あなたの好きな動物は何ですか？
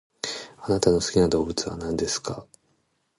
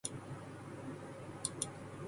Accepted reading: first